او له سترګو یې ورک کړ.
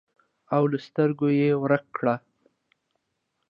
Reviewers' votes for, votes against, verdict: 2, 0, accepted